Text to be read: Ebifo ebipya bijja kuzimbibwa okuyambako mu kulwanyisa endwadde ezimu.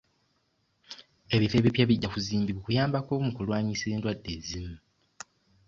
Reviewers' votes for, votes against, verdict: 2, 0, accepted